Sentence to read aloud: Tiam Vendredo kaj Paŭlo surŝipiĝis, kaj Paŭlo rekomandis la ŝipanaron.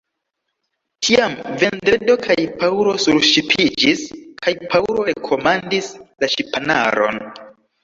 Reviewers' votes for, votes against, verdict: 0, 2, rejected